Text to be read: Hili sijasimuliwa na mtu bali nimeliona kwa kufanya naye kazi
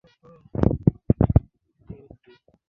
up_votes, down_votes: 0, 2